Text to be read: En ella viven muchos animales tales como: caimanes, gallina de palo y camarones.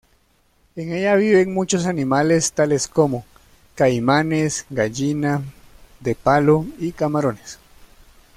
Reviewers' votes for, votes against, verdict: 2, 0, accepted